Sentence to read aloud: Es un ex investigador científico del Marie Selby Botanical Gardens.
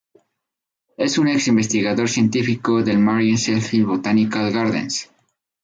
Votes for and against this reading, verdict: 2, 2, rejected